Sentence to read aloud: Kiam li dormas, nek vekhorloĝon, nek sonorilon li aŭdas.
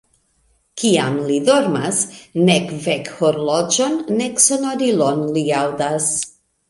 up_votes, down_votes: 2, 0